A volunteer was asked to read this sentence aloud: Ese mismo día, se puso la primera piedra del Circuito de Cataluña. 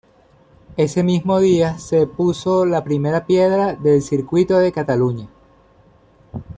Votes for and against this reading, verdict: 1, 2, rejected